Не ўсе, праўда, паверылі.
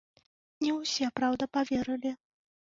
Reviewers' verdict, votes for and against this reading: accepted, 2, 0